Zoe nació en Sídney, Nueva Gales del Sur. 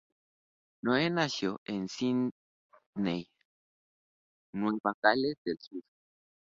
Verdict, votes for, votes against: accepted, 2, 0